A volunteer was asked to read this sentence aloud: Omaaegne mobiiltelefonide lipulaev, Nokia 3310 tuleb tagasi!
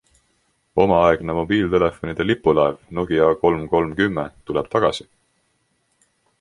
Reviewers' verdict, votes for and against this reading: rejected, 0, 2